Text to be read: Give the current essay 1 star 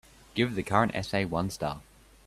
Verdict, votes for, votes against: rejected, 0, 2